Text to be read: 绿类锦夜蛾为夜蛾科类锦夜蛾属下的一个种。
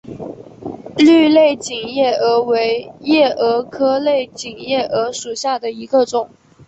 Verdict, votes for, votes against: accepted, 3, 1